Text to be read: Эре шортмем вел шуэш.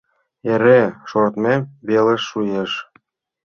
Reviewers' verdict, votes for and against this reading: accepted, 2, 0